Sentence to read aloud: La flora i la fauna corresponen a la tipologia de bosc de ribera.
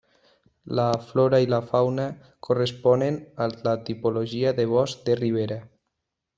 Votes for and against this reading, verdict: 2, 1, accepted